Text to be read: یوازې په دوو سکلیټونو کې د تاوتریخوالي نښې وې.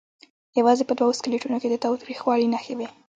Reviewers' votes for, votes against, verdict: 0, 2, rejected